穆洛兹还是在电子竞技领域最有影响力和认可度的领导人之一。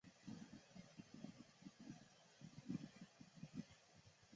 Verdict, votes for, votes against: accepted, 4, 3